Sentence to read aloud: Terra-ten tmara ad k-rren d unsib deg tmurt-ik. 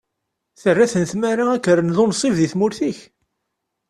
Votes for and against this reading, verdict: 2, 0, accepted